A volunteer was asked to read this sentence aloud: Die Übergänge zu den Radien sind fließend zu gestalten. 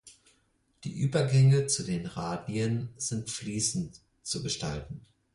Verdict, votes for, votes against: accepted, 4, 0